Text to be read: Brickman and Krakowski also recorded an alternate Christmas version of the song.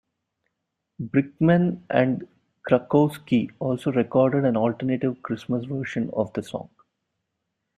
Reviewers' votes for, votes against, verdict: 1, 2, rejected